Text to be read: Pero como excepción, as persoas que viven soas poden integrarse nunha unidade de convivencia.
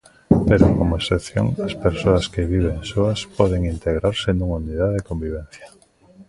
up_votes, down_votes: 2, 0